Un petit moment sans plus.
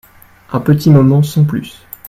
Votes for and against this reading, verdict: 2, 0, accepted